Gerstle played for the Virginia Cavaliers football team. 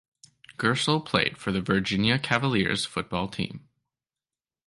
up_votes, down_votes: 2, 0